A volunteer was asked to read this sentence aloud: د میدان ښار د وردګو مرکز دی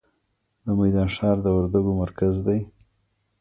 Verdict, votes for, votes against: rejected, 1, 2